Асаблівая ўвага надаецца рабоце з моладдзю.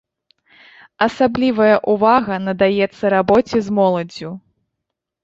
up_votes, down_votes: 1, 2